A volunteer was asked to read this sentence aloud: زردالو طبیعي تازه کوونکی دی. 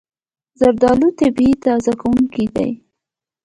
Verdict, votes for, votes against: accepted, 2, 1